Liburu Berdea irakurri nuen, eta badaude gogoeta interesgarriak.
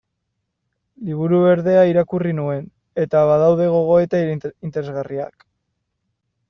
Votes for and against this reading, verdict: 1, 2, rejected